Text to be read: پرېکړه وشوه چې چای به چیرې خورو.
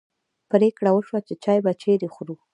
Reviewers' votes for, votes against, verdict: 2, 1, accepted